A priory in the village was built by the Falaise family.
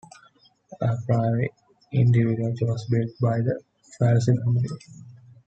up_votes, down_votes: 2, 1